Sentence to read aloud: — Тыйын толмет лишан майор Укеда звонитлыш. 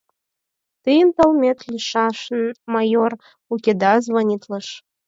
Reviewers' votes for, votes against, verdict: 2, 4, rejected